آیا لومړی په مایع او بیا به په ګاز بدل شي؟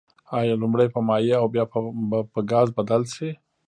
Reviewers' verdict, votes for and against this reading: rejected, 1, 2